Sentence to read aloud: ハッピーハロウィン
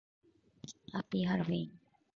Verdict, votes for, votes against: accepted, 2, 0